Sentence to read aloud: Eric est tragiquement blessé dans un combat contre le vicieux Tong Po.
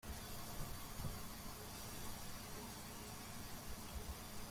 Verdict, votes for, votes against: rejected, 0, 2